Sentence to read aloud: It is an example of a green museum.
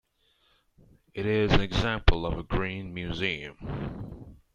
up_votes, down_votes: 2, 1